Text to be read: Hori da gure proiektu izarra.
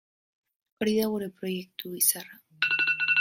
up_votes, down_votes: 2, 3